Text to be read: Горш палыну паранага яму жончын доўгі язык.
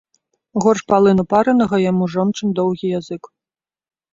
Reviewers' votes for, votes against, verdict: 2, 0, accepted